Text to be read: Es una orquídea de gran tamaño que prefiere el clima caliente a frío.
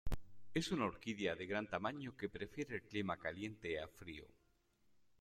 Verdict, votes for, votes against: accepted, 2, 0